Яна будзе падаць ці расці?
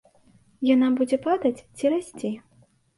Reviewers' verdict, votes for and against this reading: accepted, 2, 0